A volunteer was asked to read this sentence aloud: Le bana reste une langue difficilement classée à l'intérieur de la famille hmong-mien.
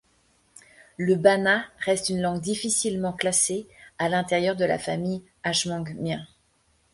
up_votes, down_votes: 0, 2